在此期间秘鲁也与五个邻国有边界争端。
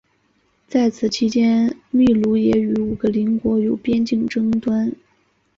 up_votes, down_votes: 1, 2